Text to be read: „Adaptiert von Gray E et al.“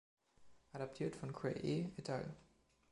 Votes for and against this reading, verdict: 1, 2, rejected